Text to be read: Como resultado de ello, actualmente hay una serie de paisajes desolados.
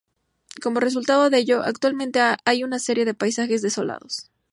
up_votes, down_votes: 2, 2